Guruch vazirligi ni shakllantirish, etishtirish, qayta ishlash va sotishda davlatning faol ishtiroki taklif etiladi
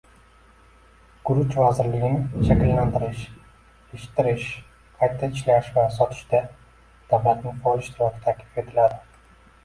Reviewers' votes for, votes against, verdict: 1, 2, rejected